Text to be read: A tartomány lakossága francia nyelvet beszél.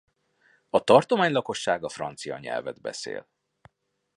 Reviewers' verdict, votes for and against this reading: accepted, 2, 0